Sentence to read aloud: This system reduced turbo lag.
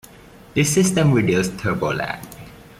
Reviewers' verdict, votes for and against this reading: accepted, 3, 0